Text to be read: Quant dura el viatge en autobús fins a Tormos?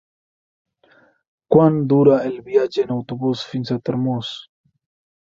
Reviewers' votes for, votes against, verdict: 2, 0, accepted